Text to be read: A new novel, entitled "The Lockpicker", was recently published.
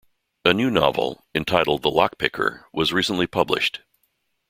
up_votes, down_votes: 2, 0